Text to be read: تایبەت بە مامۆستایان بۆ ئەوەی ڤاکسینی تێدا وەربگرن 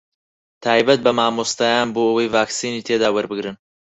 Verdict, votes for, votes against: accepted, 4, 0